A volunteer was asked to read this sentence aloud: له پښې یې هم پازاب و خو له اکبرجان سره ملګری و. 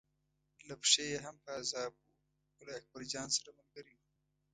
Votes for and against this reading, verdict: 1, 2, rejected